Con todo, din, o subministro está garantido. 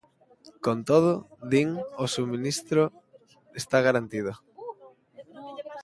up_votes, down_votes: 0, 2